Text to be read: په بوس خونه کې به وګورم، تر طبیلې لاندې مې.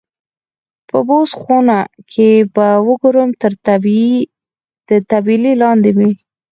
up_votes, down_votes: 2, 4